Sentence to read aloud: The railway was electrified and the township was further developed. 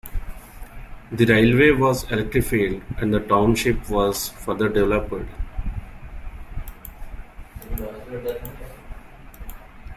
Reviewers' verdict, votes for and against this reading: rejected, 0, 2